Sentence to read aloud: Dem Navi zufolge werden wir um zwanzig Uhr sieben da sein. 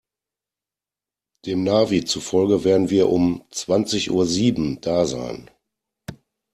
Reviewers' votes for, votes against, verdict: 2, 0, accepted